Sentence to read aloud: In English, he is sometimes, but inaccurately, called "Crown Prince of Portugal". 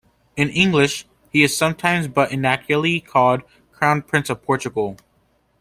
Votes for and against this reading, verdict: 2, 0, accepted